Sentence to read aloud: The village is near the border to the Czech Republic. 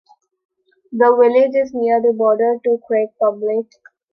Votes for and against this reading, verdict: 0, 2, rejected